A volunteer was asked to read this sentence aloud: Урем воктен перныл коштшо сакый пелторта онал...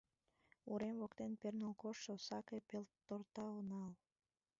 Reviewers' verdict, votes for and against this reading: rejected, 1, 2